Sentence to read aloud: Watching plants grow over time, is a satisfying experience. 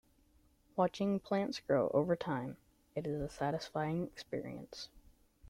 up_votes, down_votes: 0, 2